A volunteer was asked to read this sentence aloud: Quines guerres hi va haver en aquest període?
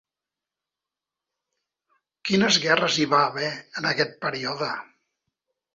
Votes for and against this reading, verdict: 3, 0, accepted